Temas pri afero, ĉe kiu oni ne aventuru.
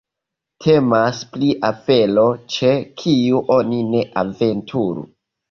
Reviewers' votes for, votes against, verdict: 1, 2, rejected